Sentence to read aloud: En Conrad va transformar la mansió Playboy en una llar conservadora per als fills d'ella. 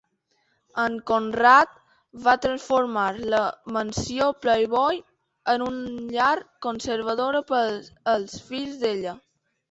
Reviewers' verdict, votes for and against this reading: rejected, 1, 3